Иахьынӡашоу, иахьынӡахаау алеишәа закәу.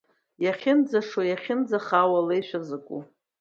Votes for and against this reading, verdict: 2, 1, accepted